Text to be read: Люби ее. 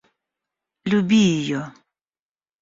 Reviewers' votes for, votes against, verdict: 0, 2, rejected